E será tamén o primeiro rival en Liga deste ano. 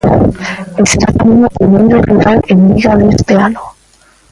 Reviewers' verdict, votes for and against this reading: rejected, 0, 2